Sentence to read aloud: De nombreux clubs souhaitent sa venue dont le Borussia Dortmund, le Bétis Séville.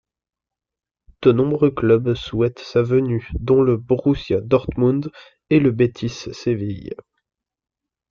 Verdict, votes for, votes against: rejected, 0, 2